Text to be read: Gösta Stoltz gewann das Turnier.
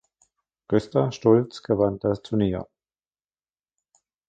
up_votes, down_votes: 1, 2